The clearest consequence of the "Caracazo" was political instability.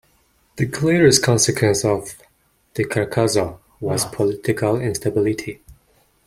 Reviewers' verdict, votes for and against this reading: rejected, 1, 2